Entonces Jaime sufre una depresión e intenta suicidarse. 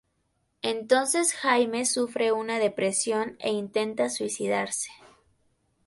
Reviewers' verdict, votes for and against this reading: accepted, 4, 0